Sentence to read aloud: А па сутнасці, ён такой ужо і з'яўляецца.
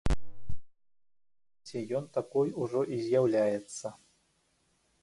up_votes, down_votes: 0, 2